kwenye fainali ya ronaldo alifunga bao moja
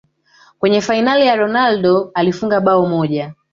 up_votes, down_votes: 1, 2